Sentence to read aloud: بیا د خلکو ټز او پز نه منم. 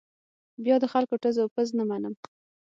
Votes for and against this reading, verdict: 6, 0, accepted